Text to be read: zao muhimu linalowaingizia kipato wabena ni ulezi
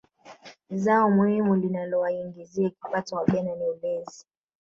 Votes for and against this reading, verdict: 1, 2, rejected